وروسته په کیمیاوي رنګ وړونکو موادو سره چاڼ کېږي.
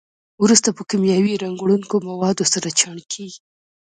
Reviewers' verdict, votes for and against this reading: rejected, 2, 3